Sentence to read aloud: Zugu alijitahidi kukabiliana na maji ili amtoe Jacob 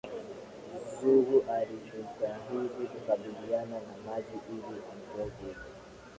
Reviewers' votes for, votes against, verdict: 2, 0, accepted